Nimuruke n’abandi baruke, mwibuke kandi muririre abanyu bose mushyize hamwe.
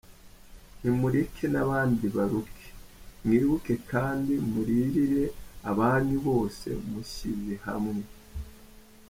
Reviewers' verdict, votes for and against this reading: rejected, 2, 4